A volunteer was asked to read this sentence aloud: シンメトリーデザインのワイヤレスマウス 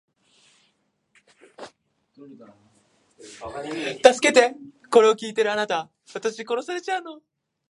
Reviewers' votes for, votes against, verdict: 0, 2, rejected